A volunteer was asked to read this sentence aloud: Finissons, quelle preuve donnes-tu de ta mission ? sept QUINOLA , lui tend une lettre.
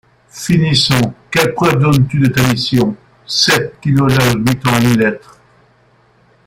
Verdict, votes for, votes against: accepted, 2, 0